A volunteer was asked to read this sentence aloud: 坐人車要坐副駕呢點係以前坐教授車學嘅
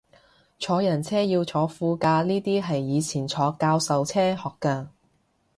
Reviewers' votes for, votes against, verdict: 0, 2, rejected